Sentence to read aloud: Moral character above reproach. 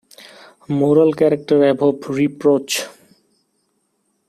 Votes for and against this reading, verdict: 2, 0, accepted